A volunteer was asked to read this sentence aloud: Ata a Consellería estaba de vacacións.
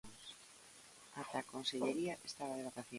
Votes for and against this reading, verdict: 0, 2, rejected